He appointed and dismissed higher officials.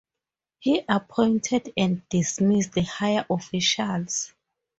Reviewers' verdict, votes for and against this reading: accepted, 4, 0